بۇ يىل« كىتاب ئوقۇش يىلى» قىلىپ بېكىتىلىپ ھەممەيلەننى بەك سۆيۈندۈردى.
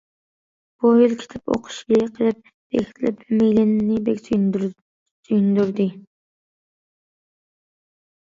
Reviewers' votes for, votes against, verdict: 0, 2, rejected